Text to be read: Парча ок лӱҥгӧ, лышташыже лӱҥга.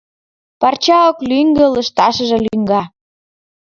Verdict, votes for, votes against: accepted, 4, 1